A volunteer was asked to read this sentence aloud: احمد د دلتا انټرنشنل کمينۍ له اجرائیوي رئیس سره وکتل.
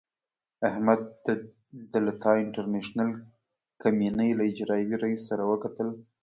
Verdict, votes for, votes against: rejected, 0, 2